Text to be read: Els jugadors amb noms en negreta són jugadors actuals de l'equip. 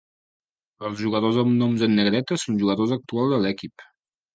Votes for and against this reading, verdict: 2, 1, accepted